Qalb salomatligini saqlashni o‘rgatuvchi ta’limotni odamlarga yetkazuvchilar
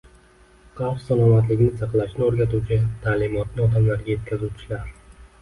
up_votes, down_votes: 2, 0